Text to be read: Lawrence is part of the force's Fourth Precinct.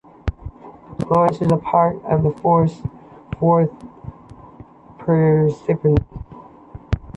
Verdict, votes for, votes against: rejected, 0, 2